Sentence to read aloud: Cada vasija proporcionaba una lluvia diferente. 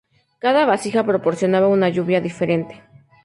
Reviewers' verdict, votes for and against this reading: rejected, 0, 2